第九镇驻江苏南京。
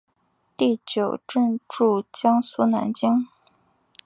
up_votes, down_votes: 2, 0